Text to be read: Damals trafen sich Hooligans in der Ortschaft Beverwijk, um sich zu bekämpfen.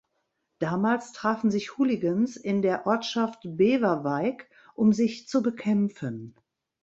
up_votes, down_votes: 2, 3